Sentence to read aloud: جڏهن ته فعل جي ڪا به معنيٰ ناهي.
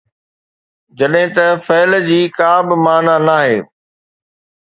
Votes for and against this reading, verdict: 2, 0, accepted